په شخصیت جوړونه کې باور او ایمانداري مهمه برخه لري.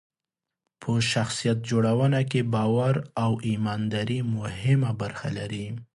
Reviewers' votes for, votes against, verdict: 2, 0, accepted